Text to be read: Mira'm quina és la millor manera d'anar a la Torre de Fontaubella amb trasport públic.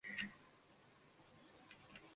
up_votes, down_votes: 0, 2